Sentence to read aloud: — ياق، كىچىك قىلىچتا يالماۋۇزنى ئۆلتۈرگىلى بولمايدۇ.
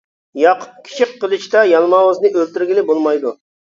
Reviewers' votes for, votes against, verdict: 2, 0, accepted